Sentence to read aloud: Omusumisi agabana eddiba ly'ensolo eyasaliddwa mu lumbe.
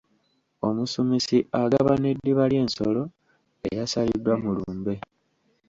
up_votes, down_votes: 2, 1